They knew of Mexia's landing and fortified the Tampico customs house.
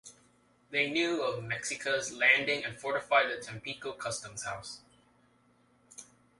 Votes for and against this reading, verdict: 1, 2, rejected